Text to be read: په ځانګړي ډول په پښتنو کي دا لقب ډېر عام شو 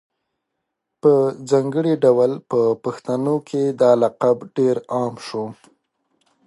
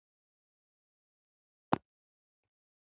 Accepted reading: first